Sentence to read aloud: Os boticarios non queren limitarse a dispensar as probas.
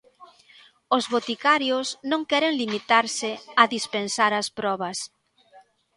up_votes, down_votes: 2, 0